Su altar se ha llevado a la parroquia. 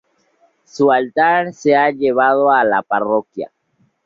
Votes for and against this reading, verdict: 4, 0, accepted